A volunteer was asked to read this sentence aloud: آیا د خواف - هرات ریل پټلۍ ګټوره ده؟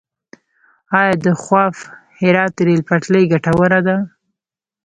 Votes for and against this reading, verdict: 2, 0, accepted